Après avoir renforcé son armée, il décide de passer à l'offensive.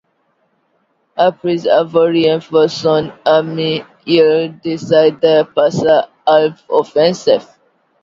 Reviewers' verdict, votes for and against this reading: accepted, 2, 1